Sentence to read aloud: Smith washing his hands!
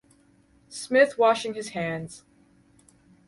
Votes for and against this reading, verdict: 4, 0, accepted